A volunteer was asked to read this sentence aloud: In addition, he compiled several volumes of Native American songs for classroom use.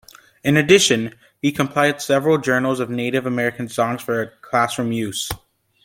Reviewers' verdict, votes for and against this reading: rejected, 1, 2